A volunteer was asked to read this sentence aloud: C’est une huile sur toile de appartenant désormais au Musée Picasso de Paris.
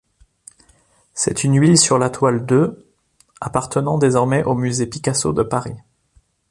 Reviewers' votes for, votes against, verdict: 0, 2, rejected